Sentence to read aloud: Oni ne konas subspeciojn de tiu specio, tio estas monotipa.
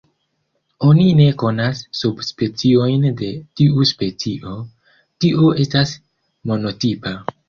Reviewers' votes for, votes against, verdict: 0, 2, rejected